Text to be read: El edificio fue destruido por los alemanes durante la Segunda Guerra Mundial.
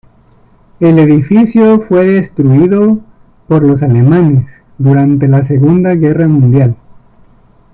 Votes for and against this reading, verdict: 0, 2, rejected